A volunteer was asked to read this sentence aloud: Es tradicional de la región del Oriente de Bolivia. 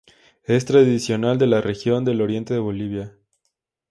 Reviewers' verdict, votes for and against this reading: accepted, 2, 0